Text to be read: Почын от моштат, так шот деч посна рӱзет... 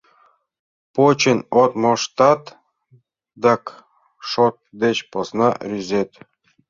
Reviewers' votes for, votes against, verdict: 2, 0, accepted